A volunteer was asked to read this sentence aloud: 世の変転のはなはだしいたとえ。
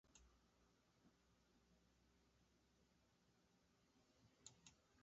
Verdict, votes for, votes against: rejected, 0, 2